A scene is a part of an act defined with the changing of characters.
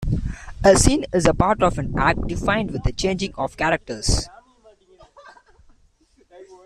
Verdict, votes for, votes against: accepted, 3, 1